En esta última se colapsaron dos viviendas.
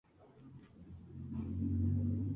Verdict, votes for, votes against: rejected, 0, 2